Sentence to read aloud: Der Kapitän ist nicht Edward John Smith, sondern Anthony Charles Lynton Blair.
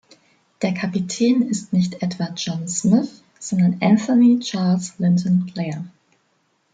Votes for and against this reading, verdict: 2, 0, accepted